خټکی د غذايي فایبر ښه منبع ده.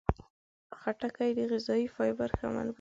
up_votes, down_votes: 1, 2